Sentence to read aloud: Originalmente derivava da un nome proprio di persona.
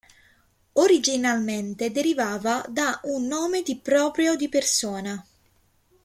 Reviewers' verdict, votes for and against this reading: rejected, 0, 2